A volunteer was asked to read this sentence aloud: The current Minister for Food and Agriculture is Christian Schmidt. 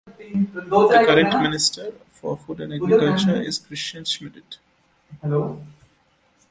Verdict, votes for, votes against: rejected, 0, 2